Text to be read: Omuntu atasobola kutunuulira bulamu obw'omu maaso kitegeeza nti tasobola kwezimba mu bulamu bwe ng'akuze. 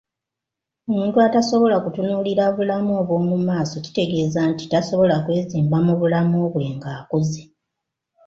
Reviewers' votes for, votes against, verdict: 2, 1, accepted